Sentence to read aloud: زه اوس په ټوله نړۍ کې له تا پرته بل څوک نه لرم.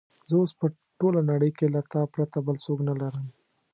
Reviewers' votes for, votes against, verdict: 2, 0, accepted